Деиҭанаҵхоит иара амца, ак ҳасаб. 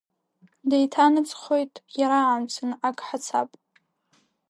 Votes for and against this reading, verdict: 2, 0, accepted